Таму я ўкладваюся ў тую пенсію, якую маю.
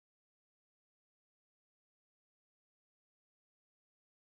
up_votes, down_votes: 1, 3